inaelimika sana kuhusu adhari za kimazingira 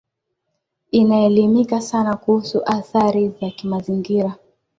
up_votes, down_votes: 2, 1